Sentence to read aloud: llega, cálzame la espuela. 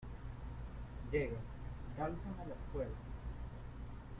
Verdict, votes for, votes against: rejected, 1, 2